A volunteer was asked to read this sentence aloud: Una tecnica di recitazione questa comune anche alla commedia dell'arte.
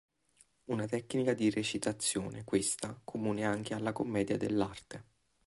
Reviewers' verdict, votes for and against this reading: accepted, 2, 0